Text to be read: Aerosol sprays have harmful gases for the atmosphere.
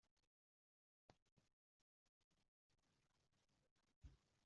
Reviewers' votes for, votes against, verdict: 0, 2, rejected